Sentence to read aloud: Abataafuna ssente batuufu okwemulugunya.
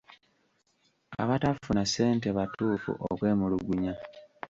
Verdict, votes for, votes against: rejected, 1, 2